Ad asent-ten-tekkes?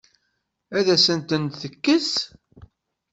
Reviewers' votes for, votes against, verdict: 2, 0, accepted